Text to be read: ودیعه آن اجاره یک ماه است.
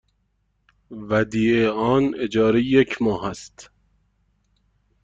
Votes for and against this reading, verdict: 2, 0, accepted